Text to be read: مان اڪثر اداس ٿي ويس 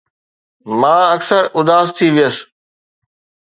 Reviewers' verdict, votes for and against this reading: accepted, 2, 0